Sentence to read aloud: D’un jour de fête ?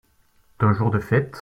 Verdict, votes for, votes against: accepted, 2, 0